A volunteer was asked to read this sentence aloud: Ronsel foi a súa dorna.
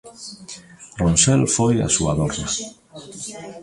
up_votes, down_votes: 1, 2